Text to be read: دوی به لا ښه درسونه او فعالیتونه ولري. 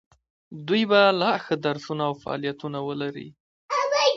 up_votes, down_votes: 2, 0